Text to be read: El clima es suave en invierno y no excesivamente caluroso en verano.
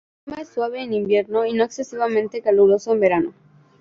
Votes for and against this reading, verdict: 0, 2, rejected